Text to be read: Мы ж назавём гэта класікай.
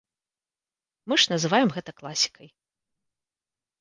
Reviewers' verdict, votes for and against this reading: rejected, 1, 2